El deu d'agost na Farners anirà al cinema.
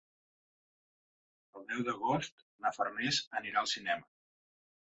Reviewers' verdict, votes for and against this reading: rejected, 1, 2